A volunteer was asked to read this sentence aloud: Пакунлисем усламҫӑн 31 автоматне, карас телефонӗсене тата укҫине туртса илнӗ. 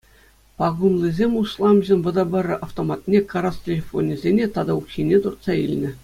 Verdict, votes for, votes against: rejected, 0, 2